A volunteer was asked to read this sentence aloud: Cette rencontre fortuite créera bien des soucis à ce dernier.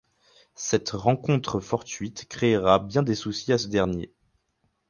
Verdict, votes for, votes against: accepted, 4, 0